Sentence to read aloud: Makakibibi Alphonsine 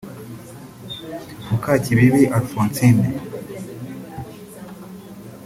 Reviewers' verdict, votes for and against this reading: rejected, 1, 2